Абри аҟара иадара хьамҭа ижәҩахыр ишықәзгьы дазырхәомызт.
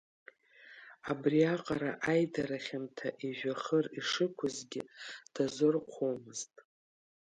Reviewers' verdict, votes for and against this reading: rejected, 1, 2